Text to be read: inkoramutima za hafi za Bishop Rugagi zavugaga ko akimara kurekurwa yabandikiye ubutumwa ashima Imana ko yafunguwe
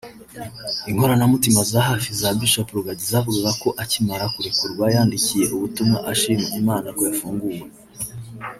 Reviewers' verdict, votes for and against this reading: rejected, 1, 2